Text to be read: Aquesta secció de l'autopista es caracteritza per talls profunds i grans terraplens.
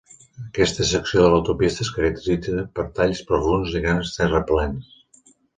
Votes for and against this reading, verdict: 2, 3, rejected